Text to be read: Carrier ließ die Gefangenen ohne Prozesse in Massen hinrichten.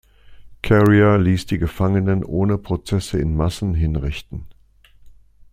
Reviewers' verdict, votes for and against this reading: accepted, 2, 0